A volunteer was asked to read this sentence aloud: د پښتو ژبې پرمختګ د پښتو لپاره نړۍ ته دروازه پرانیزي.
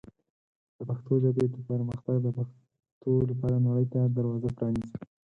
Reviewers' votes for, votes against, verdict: 4, 0, accepted